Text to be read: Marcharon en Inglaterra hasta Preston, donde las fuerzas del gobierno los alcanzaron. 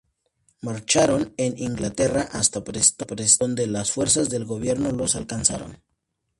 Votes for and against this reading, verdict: 2, 0, accepted